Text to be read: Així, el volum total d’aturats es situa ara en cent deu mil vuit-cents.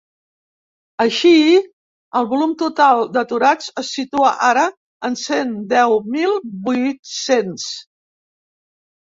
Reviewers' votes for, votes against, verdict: 1, 2, rejected